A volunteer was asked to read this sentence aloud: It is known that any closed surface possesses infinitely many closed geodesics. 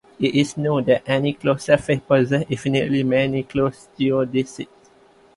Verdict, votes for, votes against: rejected, 0, 2